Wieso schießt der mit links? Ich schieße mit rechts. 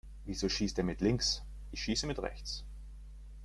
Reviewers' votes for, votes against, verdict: 3, 0, accepted